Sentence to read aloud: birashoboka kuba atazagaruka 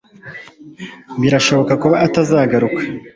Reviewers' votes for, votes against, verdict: 2, 0, accepted